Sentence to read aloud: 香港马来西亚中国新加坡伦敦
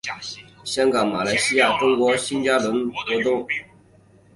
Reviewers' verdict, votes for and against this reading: rejected, 0, 3